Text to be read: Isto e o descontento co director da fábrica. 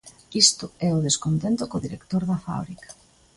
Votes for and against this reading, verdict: 2, 0, accepted